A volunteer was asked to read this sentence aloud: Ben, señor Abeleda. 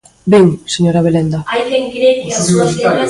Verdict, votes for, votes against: rejected, 1, 2